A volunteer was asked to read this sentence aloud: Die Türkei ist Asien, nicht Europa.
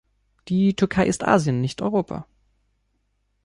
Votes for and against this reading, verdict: 2, 0, accepted